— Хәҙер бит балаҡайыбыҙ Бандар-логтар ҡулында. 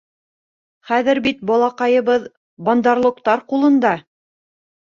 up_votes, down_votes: 2, 1